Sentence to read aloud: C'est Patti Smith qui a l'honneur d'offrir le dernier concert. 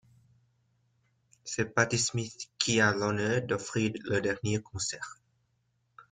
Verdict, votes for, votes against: accepted, 2, 0